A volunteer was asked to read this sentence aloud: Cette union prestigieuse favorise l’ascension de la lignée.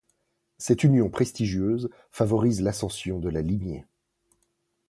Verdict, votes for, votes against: accepted, 2, 0